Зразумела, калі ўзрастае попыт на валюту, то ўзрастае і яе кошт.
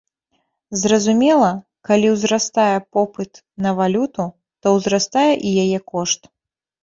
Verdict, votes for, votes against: accepted, 2, 0